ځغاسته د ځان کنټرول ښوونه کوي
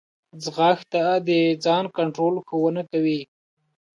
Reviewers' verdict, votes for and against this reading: accepted, 2, 0